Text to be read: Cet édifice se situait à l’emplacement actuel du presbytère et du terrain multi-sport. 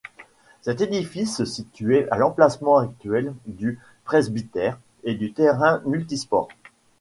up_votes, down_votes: 2, 0